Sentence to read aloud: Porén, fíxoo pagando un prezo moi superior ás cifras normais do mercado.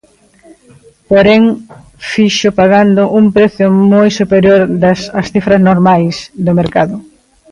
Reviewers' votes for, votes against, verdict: 0, 2, rejected